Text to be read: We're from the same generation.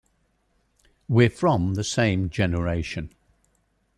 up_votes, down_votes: 2, 1